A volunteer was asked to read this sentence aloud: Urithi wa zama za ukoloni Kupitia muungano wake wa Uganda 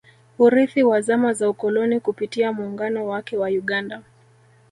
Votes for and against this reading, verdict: 1, 2, rejected